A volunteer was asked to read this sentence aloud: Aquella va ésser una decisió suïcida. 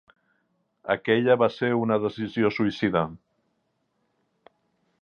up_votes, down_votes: 2, 1